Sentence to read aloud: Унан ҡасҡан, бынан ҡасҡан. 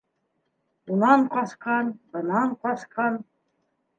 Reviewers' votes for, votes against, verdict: 2, 0, accepted